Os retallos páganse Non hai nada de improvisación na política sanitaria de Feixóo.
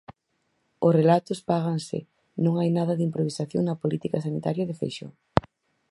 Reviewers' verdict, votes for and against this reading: rejected, 0, 4